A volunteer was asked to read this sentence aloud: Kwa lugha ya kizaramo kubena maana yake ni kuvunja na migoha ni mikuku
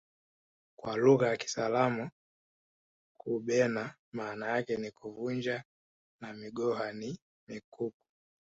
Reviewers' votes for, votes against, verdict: 1, 2, rejected